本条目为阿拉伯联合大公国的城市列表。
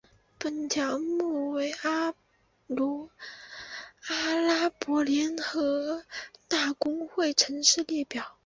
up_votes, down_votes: 0, 2